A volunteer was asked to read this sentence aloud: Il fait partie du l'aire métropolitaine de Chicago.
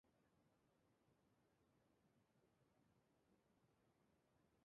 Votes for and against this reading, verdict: 0, 2, rejected